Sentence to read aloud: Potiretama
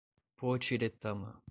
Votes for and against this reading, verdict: 2, 0, accepted